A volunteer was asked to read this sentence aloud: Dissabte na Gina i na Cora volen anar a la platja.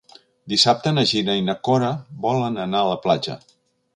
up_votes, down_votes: 2, 0